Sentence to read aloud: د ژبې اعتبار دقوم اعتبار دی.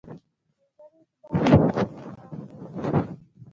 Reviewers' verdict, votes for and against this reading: rejected, 0, 2